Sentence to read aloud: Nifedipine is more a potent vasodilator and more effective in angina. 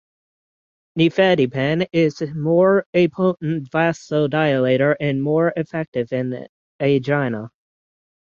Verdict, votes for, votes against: rejected, 3, 9